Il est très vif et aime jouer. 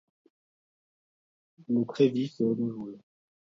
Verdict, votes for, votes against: rejected, 0, 2